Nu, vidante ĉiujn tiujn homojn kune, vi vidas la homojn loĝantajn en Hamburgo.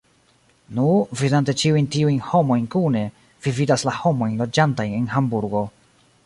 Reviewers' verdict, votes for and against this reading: accepted, 2, 0